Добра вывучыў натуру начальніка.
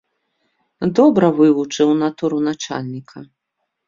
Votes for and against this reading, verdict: 2, 0, accepted